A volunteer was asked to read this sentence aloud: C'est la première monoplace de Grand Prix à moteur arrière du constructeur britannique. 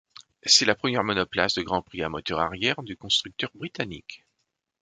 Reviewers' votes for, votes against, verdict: 2, 0, accepted